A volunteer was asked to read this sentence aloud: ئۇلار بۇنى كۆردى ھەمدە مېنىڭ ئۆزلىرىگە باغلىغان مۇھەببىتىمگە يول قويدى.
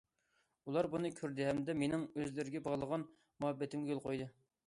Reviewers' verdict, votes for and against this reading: accepted, 2, 0